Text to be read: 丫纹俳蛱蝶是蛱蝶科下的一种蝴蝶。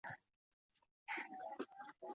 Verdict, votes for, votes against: rejected, 1, 2